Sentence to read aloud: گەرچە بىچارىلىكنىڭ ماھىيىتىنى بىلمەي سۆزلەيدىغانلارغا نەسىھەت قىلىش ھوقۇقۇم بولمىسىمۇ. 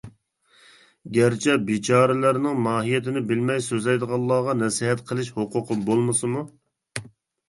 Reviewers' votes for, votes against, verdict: 1, 2, rejected